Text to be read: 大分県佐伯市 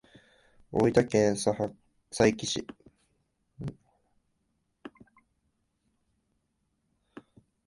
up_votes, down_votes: 1, 2